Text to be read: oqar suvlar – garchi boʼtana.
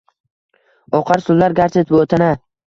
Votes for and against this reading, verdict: 1, 2, rejected